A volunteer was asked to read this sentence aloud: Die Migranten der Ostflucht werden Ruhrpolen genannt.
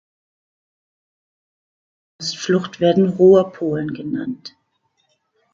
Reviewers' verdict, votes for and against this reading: rejected, 0, 2